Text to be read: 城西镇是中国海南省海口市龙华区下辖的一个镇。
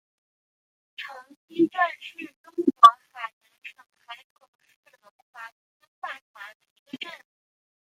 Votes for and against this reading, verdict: 0, 2, rejected